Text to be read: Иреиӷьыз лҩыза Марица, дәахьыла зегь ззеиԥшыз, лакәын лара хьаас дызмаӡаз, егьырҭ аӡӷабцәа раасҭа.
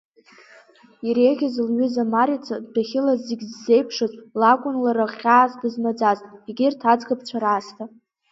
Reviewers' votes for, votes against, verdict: 4, 2, accepted